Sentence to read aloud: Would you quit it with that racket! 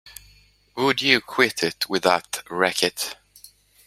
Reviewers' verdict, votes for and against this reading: accepted, 2, 0